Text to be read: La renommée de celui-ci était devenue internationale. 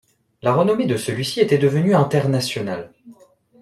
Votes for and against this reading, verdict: 2, 0, accepted